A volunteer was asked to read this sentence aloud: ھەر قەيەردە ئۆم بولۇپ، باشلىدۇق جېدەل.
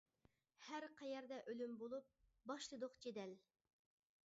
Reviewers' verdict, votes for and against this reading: rejected, 0, 2